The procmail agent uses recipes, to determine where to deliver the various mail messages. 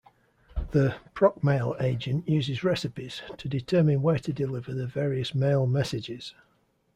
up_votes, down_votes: 2, 0